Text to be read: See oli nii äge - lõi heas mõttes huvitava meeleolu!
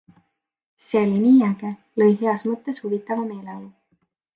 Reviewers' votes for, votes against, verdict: 2, 0, accepted